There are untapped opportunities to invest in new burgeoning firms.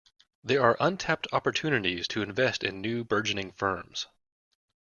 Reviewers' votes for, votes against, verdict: 2, 0, accepted